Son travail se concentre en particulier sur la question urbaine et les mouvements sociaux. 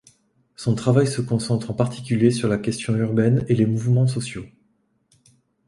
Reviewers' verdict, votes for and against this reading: accepted, 2, 0